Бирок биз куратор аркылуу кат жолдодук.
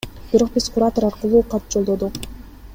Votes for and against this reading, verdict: 2, 0, accepted